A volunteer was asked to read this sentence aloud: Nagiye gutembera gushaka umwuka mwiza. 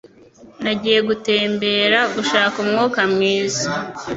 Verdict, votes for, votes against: accepted, 2, 0